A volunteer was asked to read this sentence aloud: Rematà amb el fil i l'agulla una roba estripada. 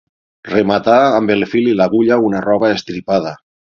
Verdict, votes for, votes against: accepted, 6, 0